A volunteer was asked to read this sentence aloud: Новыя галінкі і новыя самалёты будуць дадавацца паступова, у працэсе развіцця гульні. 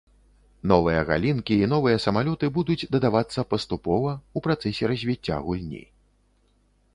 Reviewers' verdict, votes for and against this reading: accepted, 2, 0